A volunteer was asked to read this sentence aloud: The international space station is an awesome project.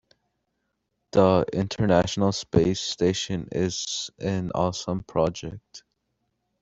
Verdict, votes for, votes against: accepted, 2, 0